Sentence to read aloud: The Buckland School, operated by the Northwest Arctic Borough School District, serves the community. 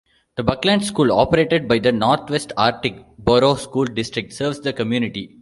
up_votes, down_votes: 2, 0